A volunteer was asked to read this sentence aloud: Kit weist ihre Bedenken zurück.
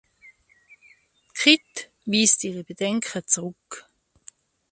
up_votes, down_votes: 1, 2